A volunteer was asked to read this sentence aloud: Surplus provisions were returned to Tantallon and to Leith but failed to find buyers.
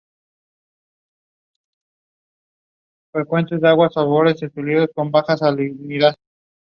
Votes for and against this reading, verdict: 0, 2, rejected